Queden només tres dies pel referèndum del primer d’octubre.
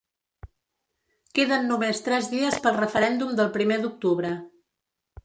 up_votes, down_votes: 2, 0